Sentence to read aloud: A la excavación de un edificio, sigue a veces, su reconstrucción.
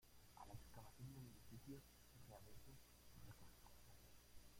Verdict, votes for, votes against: rejected, 1, 2